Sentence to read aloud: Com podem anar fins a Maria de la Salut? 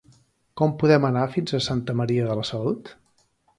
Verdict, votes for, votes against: rejected, 0, 2